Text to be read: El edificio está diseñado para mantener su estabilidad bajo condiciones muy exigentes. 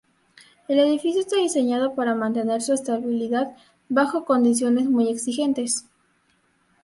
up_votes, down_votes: 2, 0